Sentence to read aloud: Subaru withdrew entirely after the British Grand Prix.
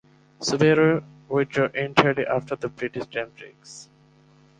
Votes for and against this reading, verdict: 0, 2, rejected